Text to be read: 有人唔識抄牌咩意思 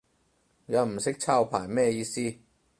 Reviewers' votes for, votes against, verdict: 0, 4, rejected